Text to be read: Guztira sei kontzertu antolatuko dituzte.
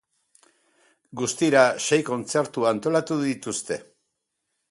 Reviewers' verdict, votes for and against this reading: rejected, 2, 2